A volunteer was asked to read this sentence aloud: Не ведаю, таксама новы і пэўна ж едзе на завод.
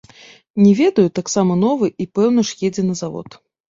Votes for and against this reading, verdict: 1, 2, rejected